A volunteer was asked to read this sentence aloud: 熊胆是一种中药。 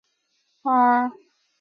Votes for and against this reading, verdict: 0, 2, rejected